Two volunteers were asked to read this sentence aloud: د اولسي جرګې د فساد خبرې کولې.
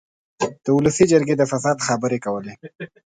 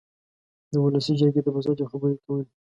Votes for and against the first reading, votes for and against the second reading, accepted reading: 8, 0, 0, 2, first